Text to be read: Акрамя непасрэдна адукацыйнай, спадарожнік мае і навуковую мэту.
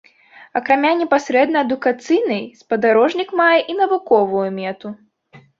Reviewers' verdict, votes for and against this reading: rejected, 0, 2